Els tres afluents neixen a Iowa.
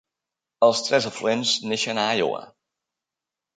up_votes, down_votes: 3, 0